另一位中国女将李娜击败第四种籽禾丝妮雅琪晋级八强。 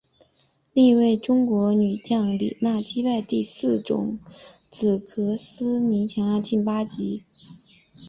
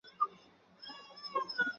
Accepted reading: first